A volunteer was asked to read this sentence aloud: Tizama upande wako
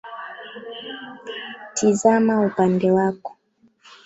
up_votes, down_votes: 0, 2